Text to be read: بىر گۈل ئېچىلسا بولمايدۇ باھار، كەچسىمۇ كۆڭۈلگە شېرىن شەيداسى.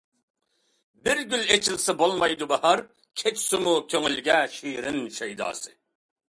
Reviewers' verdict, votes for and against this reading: accepted, 2, 0